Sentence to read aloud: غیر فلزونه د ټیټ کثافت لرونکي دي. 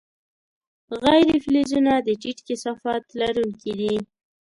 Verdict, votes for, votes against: accepted, 2, 0